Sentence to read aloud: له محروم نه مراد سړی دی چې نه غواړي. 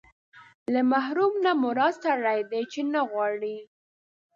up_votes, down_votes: 2, 0